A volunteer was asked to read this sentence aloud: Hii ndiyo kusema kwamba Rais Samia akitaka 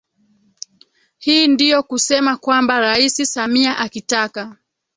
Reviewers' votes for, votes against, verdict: 1, 2, rejected